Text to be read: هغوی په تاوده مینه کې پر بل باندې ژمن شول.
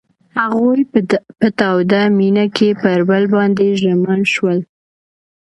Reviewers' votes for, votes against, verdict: 2, 0, accepted